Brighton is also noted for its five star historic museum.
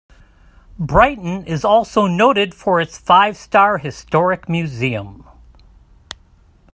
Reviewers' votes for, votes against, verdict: 2, 0, accepted